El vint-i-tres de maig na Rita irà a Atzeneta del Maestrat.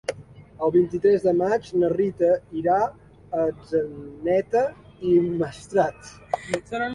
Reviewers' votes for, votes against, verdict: 1, 2, rejected